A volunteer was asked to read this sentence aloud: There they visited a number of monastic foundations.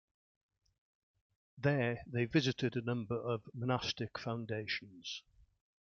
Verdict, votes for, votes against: accepted, 2, 1